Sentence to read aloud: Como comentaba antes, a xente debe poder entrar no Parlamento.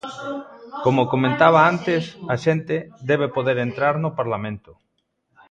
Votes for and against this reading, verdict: 2, 1, accepted